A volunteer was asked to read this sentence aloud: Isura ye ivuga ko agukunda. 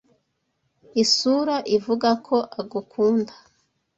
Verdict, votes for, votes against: rejected, 0, 2